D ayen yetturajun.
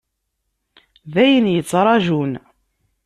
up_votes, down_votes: 1, 2